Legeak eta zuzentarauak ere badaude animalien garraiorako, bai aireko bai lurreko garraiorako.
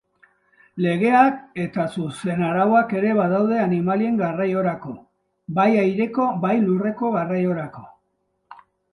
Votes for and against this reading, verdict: 1, 2, rejected